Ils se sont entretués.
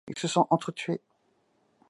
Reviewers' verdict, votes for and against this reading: accepted, 2, 0